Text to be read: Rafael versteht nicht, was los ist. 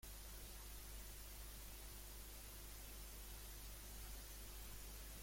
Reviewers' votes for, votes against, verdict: 0, 2, rejected